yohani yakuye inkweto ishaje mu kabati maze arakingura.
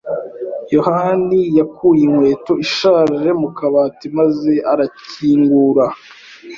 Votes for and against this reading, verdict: 2, 0, accepted